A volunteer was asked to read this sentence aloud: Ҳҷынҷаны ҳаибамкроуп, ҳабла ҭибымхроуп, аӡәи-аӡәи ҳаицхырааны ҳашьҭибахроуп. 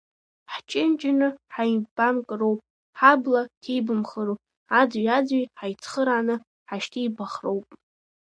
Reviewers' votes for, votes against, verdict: 1, 2, rejected